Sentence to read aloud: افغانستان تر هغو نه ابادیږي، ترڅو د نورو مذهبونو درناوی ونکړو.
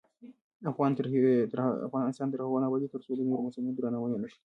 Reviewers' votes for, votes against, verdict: 0, 2, rejected